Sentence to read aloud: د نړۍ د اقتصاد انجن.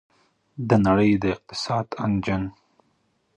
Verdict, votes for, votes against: accepted, 2, 1